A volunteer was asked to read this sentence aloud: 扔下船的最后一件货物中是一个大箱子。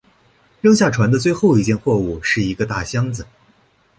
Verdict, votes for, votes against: rejected, 2, 4